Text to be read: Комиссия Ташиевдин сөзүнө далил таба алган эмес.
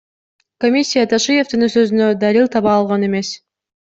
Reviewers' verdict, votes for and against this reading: accepted, 2, 0